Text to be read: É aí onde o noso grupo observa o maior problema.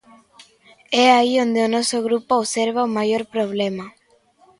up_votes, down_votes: 2, 0